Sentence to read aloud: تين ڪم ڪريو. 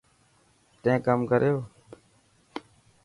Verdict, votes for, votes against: accepted, 4, 0